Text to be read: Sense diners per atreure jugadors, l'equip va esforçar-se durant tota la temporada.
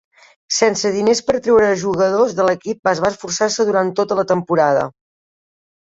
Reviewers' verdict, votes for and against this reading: accepted, 2, 0